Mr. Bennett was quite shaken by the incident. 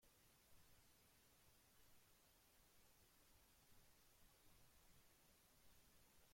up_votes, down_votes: 0, 2